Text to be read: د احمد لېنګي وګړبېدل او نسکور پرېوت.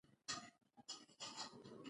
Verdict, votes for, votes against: accepted, 2, 0